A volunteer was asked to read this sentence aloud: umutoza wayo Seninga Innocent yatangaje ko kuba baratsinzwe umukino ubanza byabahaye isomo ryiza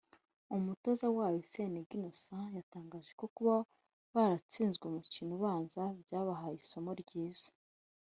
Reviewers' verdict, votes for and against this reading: rejected, 1, 2